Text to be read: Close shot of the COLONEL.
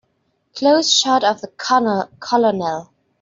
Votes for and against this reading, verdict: 0, 2, rejected